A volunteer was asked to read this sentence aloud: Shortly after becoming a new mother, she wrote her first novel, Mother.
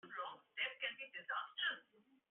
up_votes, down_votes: 0, 2